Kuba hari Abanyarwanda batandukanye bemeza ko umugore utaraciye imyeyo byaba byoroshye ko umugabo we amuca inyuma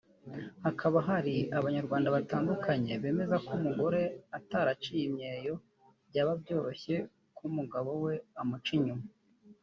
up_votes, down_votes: 0, 2